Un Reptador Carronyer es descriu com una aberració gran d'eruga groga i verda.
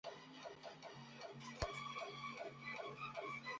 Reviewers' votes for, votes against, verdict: 0, 2, rejected